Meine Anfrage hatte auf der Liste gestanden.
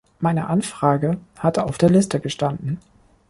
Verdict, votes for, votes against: accepted, 2, 0